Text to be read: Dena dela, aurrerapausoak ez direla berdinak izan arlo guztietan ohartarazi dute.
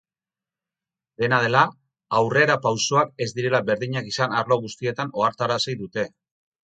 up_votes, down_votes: 4, 0